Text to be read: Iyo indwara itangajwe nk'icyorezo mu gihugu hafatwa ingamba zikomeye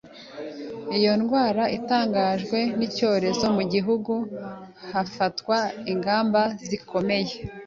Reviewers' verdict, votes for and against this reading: accepted, 2, 0